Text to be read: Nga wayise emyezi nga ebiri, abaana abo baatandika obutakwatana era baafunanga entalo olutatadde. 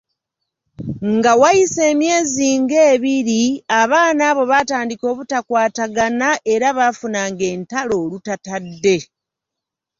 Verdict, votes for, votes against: accepted, 2, 0